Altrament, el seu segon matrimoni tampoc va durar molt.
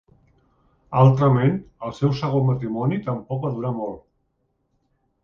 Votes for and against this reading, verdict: 2, 0, accepted